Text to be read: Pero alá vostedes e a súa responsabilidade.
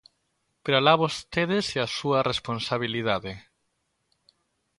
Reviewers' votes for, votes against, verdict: 2, 0, accepted